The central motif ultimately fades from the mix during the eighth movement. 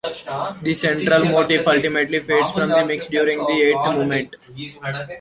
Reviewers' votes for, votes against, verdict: 2, 1, accepted